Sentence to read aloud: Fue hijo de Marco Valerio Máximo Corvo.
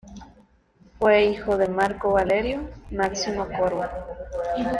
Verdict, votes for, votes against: accepted, 2, 0